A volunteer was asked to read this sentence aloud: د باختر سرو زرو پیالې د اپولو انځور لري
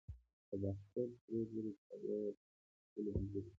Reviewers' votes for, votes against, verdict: 0, 2, rejected